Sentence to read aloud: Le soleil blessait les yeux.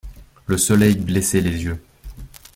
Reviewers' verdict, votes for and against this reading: accepted, 2, 0